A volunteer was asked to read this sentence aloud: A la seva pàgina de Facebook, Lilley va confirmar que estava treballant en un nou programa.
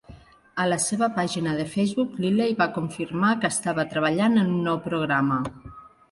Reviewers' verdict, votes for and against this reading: accepted, 3, 0